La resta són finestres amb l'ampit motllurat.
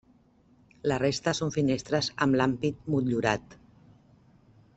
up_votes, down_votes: 0, 2